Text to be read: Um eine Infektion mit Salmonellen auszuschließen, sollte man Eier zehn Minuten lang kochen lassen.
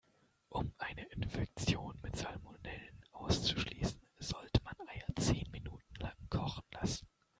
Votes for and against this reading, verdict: 2, 0, accepted